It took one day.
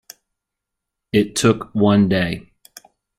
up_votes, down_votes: 2, 0